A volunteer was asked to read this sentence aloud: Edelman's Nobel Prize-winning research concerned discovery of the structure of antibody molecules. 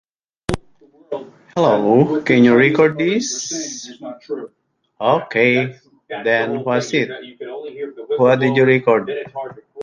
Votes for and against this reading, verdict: 0, 2, rejected